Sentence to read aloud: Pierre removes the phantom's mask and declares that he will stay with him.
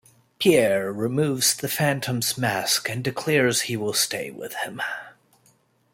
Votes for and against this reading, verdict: 1, 2, rejected